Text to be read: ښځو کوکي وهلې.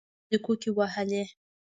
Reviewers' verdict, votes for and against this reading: rejected, 1, 2